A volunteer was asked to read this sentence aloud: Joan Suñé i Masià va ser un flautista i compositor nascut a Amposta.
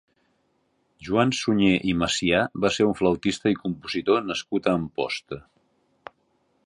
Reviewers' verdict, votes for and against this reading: accepted, 2, 0